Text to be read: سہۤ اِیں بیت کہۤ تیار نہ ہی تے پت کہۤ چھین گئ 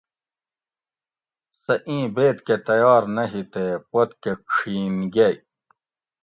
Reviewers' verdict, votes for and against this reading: accepted, 2, 0